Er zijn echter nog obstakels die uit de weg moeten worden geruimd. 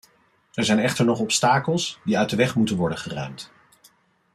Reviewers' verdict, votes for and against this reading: accepted, 2, 0